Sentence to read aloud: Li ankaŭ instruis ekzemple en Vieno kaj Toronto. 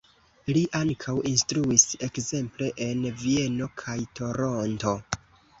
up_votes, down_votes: 1, 2